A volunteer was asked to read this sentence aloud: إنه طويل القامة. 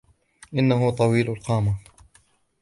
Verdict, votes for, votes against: accepted, 2, 0